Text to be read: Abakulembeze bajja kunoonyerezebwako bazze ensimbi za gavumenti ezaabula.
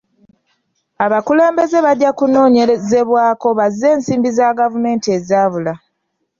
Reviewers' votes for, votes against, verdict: 2, 0, accepted